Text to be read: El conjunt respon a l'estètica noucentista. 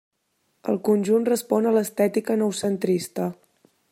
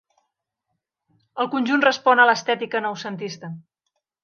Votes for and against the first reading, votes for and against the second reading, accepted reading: 0, 2, 3, 0, second